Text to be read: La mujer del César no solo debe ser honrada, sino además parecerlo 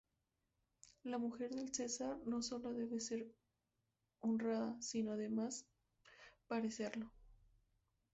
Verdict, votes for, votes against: rejected, 0, 2